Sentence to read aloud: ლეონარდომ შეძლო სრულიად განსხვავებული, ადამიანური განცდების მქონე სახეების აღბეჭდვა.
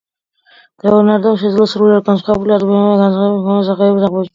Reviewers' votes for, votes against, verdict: 0, 2, rejected